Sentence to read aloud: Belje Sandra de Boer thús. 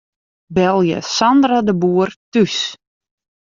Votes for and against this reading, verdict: 1, 2, rejected